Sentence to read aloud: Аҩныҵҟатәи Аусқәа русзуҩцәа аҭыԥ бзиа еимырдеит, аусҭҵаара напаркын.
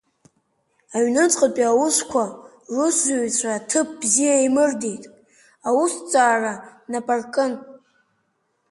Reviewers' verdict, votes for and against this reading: accepted, 5, 1